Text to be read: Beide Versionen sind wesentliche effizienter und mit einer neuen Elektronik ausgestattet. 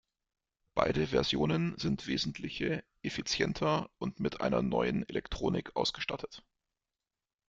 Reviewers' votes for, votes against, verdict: 0, 2, rejected